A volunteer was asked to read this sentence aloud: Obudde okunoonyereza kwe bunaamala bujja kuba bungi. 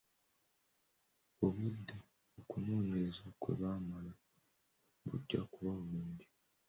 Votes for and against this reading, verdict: 0, 2, rejected